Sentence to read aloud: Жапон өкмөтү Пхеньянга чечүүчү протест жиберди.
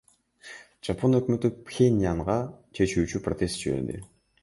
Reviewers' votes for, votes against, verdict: 2, 0, accepted